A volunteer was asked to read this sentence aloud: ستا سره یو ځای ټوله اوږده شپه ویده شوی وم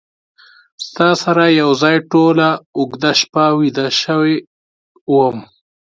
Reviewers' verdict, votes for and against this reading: accepted, 2, 0